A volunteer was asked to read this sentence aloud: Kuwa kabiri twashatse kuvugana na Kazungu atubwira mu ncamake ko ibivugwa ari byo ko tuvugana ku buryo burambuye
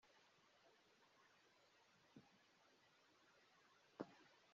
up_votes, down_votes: 0, 2